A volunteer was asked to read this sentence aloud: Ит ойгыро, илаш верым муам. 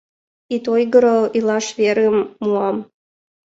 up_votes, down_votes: 2, 1